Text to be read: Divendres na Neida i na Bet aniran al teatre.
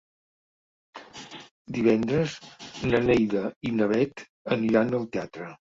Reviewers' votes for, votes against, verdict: 3, 0, accepted